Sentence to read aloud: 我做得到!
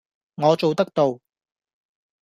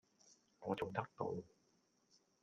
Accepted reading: first